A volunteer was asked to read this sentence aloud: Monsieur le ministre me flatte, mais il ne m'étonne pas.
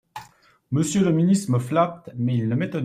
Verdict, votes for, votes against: rejected, 1, 2